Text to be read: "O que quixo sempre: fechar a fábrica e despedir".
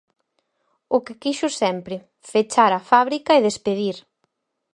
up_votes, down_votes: 4, 0